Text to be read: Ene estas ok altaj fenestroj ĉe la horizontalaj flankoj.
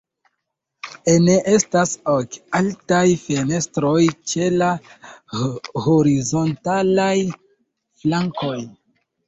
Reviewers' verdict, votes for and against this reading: rejected, 1, 2